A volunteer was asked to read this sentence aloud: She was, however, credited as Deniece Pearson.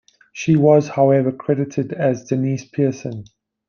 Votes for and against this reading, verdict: 2, 0, accepted